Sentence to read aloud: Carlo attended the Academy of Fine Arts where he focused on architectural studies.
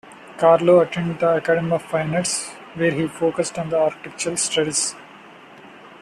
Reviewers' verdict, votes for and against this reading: rejected, 1, 2